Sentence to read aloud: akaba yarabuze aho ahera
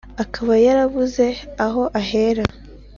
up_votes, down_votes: 2, 0